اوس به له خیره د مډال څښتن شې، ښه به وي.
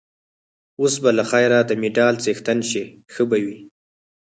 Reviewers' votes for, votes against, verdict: 4, 0, accepted